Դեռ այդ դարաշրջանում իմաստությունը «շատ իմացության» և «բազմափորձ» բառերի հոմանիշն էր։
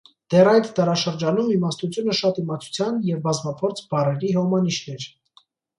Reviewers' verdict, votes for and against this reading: accepted, 2, 0